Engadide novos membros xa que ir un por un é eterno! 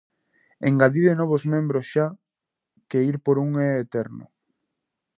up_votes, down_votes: 0, 2